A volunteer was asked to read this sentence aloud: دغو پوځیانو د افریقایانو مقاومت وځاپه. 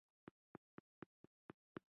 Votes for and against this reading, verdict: 0, 2, rejected